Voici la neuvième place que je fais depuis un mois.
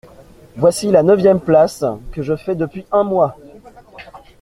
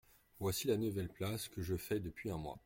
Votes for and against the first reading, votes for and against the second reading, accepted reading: 2, 0, 1, 2, first